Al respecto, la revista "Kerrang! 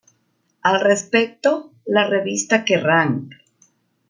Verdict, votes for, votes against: accepted, 2, 0